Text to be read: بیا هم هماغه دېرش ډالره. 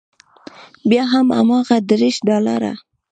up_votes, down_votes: 2, 1